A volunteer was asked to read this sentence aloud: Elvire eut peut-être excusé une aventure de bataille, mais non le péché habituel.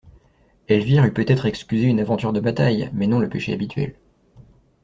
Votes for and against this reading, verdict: 3, 0, accepted